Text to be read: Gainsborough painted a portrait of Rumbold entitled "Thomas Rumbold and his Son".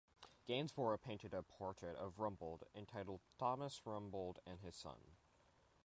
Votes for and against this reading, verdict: 2, 0, accepted